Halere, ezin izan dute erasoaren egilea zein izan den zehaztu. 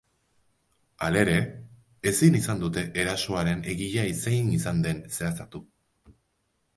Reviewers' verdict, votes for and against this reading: rejected, 1, 2